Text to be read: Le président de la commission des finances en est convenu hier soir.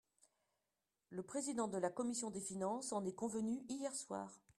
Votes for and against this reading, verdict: 1, 2, rejected